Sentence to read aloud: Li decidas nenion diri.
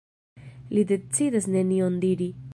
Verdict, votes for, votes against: rejected, 1, 2